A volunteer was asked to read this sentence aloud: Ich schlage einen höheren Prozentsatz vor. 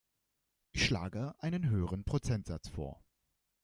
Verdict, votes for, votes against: accepted, 2, 0